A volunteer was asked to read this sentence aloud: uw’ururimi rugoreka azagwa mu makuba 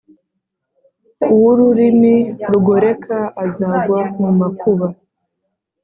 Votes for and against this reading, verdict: 3, 0, accepted